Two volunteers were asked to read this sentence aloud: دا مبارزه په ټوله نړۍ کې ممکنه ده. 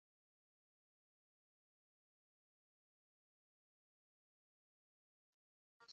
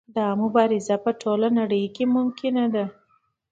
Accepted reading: second